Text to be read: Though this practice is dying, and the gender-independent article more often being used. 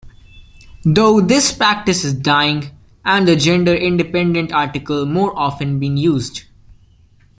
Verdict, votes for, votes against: accepted, 2, 0